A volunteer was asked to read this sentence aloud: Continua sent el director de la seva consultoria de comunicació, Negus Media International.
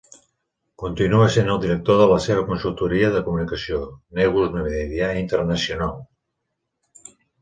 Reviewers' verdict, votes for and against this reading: accepted, 2, 1